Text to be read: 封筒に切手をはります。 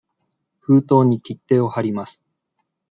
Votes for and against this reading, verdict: 2, 0, accepted